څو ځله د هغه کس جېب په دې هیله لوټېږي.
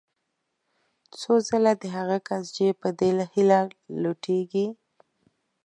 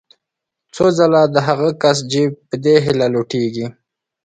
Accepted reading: second